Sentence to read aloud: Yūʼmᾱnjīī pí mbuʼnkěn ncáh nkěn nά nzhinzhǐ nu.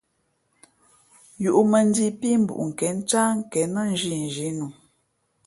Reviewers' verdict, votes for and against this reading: accepted, 2, 0